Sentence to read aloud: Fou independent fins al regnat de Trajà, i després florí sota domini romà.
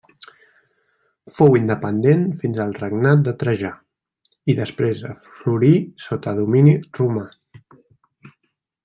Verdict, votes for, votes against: rejected, 1, 2